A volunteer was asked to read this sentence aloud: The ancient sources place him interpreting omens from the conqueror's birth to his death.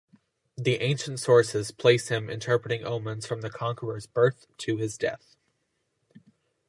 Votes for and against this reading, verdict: 2, 0, accepted